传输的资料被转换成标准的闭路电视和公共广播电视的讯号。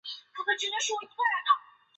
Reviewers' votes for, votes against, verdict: 0, 2, rejected